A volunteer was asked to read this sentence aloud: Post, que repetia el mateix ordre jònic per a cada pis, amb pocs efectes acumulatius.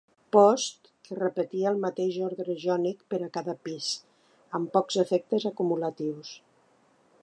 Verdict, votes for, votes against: accepted, 2, 1